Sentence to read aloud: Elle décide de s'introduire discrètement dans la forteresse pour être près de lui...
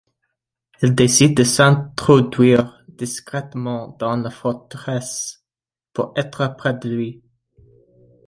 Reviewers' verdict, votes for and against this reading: rejected, 1, 2